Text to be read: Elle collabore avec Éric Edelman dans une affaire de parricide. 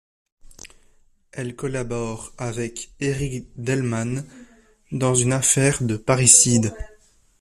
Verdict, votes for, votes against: rejected, 0, 2